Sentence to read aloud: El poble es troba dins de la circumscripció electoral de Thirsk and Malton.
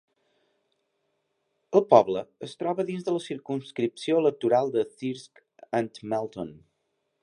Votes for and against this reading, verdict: 2, 0, accepted